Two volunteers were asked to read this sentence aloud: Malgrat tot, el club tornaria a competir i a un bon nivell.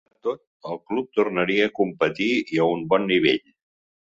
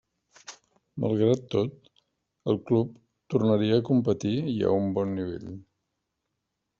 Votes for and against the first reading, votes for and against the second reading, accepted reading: 2, 0, 0, 2, first